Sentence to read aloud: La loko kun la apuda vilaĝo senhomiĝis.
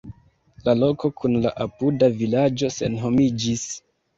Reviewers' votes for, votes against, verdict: 2, 1, accepted